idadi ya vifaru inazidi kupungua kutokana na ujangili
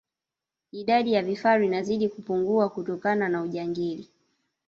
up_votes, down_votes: 1, 2